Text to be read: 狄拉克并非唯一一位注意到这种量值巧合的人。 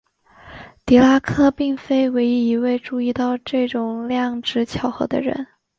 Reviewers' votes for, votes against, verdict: 3, 0, accepted